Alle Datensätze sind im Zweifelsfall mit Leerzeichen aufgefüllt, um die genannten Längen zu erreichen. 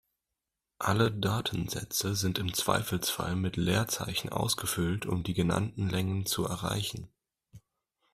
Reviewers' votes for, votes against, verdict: 0, 2, rejected